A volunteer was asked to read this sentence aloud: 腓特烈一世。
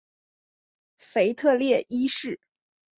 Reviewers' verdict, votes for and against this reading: accepted, 3, 0